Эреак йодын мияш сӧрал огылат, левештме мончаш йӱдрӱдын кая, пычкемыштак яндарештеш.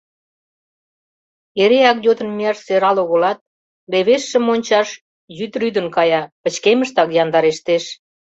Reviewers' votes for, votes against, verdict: 1, 2, rejected